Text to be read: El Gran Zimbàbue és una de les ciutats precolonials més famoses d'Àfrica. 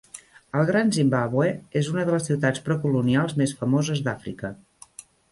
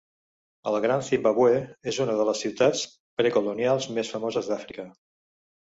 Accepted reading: first